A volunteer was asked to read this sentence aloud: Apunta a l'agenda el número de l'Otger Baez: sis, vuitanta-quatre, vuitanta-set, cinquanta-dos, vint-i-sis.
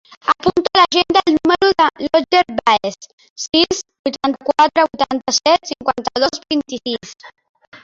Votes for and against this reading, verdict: 0, 3, rejected